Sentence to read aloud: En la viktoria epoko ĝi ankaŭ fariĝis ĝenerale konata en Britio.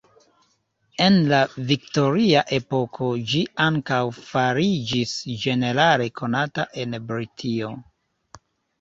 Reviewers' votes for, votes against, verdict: 1, 2, rejected